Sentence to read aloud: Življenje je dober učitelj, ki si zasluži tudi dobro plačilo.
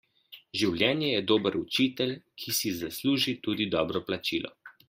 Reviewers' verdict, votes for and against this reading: accepted, 2, 0